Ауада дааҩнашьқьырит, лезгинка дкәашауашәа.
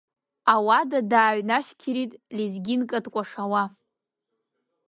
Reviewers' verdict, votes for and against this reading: rejected, 0, 2